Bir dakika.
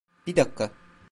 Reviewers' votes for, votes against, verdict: 1, 2, rejected